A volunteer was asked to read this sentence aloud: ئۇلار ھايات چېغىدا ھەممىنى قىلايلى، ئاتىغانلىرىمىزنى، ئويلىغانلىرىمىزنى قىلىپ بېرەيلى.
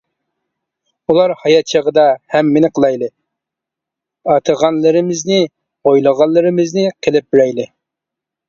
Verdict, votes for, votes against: accepted, 2, 1